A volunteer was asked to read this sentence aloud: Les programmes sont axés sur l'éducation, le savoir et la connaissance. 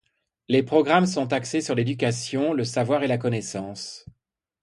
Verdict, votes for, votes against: accepted, 2, 0